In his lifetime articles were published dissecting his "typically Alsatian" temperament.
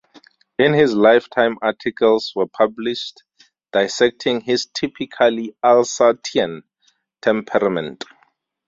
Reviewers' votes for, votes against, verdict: 4, 0, accepted